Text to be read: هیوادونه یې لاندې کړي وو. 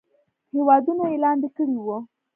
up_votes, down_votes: 2, 1